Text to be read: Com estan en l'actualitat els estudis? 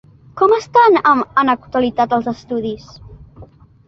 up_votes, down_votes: 0, 2